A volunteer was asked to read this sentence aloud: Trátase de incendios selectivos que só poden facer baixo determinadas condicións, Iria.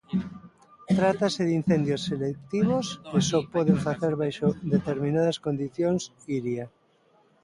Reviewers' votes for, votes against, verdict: 1, 2, rejected